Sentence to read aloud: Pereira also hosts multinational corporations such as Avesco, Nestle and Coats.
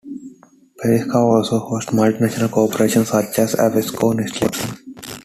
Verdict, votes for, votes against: rejected, 0, 3